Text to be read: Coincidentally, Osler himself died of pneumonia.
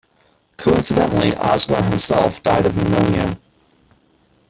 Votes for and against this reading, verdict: 0, 2, rejected